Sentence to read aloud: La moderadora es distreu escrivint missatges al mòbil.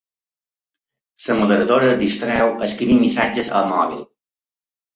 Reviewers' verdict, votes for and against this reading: accepted, 2, 1